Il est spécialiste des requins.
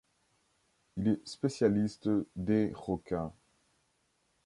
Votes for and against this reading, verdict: 4, 0, accepted